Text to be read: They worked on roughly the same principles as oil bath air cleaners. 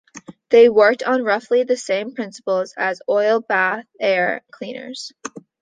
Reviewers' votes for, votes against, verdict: 2, 1, accepted